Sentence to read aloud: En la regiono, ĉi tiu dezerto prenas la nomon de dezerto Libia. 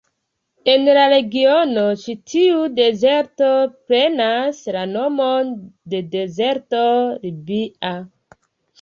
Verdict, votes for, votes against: accepted, 2, 1